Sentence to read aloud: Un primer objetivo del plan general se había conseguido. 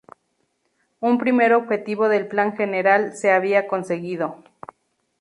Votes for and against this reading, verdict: 2, 0, accepted